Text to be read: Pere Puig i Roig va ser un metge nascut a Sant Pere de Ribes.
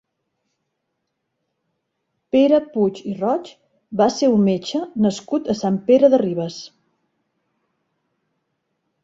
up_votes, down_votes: 8, 0